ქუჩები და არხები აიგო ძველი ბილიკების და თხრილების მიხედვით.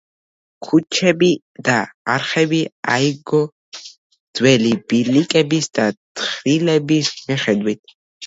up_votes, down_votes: 1, 2